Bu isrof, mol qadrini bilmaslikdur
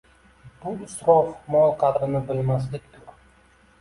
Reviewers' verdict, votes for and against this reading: accepted, 2, 0